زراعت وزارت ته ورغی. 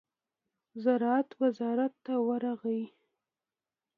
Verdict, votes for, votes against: accepted, 2, 0